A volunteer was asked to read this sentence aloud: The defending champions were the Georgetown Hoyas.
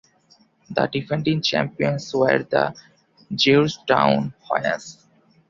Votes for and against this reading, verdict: 2, 0, accepted